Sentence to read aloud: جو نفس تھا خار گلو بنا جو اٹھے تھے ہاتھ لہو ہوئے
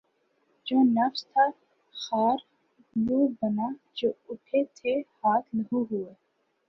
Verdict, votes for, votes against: accepted, 13, 3